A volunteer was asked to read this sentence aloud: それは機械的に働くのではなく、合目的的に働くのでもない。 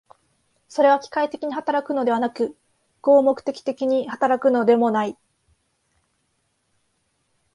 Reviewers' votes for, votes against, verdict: 9, 0, accepted